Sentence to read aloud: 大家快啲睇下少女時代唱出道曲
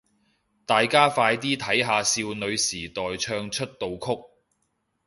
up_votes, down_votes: 2, 0